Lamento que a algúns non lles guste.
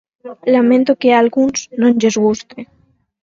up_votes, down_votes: 6, 2